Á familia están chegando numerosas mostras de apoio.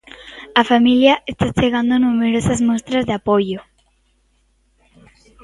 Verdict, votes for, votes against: rejected, 1, 2